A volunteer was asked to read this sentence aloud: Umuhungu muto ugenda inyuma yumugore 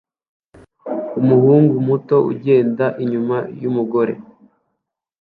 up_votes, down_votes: 2, 0